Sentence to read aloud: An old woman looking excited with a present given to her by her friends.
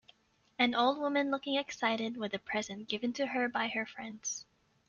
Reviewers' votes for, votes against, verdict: 2, 0, accepted